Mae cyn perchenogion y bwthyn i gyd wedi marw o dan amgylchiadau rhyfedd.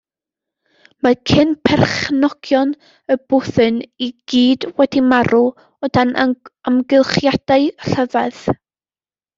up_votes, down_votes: 1, 2